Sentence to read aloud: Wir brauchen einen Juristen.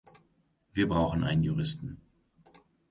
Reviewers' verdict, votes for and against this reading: rejected, 1, 2